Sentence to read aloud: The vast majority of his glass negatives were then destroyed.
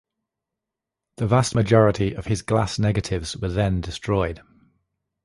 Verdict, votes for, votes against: accepted, 2, 0